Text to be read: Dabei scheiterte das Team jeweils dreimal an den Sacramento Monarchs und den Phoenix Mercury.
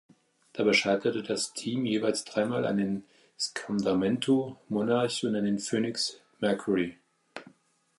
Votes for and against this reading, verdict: 0, 2, rejected